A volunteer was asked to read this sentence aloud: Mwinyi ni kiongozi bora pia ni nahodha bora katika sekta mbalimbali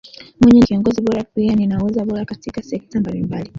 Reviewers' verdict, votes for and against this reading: accepted, 2, 1